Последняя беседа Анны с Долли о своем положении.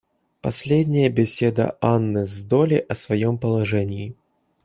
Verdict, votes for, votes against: accepted, 2, 0